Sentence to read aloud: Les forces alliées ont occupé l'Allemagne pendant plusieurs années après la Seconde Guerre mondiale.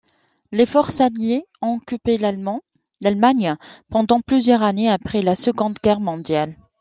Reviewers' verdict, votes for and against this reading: rejected, 0, 2